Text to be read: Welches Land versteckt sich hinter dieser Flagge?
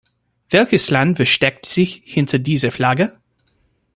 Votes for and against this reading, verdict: 2, 0, accepted